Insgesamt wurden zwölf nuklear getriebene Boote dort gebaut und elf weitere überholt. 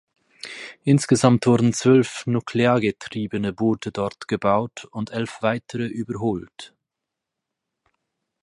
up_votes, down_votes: 4, 0